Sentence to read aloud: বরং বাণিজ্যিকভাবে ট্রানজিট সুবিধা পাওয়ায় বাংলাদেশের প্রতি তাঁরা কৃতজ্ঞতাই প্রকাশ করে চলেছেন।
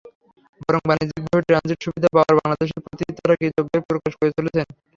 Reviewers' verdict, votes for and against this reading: rejected, 0, 3